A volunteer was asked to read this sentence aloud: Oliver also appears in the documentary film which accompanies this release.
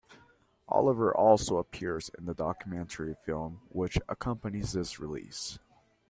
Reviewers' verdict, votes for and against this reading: accepted, 2, 0